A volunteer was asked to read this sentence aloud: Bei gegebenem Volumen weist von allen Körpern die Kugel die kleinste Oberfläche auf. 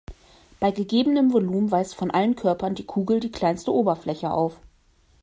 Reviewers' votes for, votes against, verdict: 2, 0, accepted